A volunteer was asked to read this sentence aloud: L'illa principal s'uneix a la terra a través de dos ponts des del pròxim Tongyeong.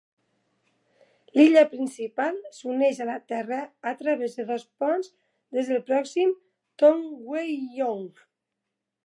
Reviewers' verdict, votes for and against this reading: accepted, 2, 1